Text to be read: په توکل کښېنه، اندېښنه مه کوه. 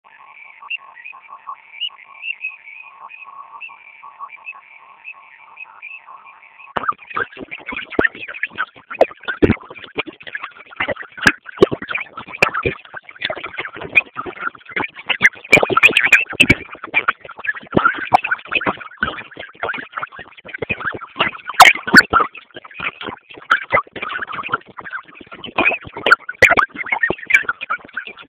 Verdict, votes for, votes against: rejected, 0, 2